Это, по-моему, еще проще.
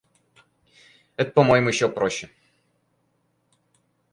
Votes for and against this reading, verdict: 0, 4, rejected